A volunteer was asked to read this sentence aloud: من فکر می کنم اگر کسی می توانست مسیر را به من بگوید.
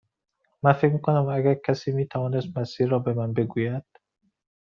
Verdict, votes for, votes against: accepted, 2, 0